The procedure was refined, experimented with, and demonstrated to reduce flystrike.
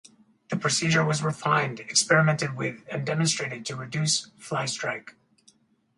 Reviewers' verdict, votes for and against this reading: rejected, 2, 2